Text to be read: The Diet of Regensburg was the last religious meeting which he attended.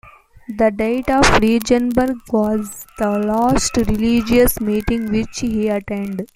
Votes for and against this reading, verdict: 1, 2, rejected